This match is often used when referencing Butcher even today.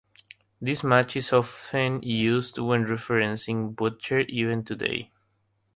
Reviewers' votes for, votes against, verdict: 3, 0, accepted